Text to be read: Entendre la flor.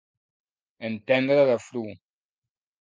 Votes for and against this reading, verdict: 1, 3, rejected